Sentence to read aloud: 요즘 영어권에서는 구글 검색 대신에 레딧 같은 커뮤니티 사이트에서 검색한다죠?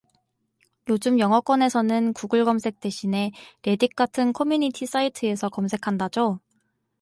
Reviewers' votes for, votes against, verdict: 4, 0, accepted